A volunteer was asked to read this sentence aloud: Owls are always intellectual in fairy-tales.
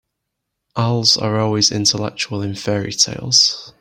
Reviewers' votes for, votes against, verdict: 2, 0, accepted